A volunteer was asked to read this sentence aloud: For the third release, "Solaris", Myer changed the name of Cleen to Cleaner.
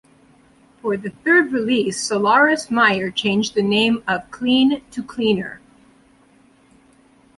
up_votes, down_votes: 2, 1